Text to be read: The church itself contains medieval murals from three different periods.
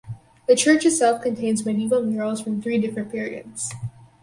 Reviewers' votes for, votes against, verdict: 4, 0, accepted